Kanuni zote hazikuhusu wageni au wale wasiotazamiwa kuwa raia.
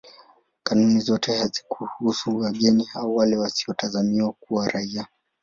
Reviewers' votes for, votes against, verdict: 2, 0, accepted